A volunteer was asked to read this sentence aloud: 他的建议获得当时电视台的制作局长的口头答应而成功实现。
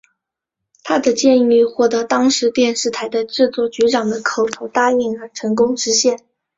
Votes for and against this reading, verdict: 2, 0, accepted